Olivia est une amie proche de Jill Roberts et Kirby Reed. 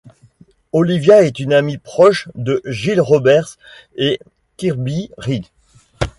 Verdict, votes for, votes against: accepted, 2, 0